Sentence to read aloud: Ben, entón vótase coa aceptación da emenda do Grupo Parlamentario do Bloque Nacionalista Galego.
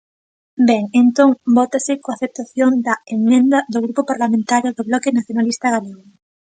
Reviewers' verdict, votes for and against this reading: rejected, 1, 2